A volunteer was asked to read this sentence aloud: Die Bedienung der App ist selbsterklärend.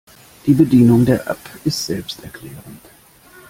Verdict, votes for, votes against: accepted, 2, 0